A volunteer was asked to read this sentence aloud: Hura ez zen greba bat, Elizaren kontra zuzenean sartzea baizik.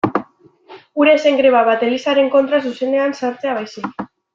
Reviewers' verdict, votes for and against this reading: accepted, 3, 1